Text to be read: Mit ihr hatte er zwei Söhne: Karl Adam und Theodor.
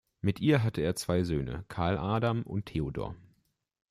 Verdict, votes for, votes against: accepted, 2, 0